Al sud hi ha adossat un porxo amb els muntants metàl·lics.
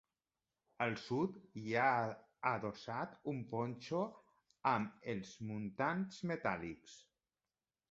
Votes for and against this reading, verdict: 1, 2, rejected